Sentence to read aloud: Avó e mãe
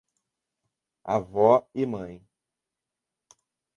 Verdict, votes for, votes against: accepted, 2, 0